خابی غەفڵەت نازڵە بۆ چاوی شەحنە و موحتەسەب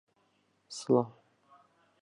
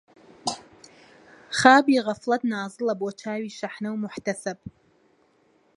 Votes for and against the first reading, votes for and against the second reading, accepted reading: 0, 2, 2, 0, second